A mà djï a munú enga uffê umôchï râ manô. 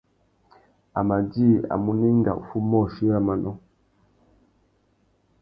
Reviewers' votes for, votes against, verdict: 2, 0, accepted